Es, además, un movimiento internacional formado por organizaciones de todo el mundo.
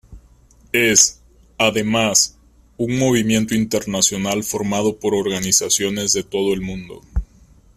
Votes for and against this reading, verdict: 2, 1, accepted